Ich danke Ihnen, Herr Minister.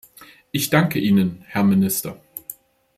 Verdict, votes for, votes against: accepted, 2, 0